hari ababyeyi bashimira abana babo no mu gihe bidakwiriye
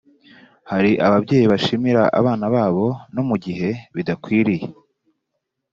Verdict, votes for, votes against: accepted, 2, 1